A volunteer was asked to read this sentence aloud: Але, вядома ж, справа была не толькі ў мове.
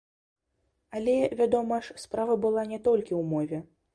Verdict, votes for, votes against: accepted, 2, 0